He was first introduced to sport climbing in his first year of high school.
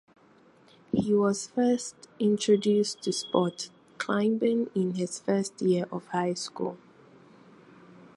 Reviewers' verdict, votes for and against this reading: accepted, 4, 0